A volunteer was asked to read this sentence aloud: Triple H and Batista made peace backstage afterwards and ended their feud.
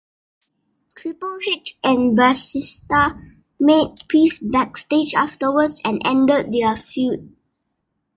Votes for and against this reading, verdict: 3, 1, accepted